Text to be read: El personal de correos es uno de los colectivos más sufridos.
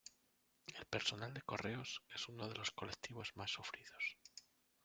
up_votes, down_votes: 2, 0